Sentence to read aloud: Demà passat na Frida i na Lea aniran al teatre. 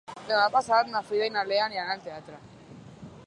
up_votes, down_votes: 3, 0